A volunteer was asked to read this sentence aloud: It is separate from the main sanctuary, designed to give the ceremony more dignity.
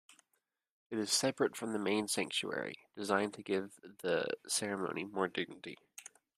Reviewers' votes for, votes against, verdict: 2, 0, accepted